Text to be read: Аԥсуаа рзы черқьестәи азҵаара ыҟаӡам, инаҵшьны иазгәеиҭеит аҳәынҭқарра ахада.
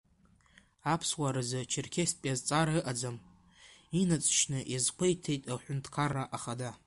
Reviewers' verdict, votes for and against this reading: rejected, 0, 2